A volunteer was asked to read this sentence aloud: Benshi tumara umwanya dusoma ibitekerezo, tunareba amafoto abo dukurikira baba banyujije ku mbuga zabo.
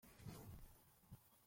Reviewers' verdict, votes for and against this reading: rejected, 0, 2